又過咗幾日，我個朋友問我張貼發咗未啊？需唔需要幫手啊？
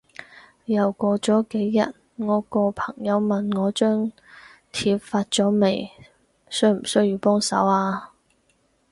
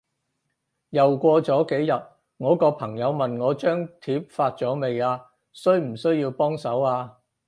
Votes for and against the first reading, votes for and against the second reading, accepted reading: 0, 4, 4, 0, second